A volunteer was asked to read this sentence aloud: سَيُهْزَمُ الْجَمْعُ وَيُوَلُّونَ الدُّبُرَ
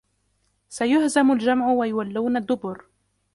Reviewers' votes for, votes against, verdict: 0, 2, rejected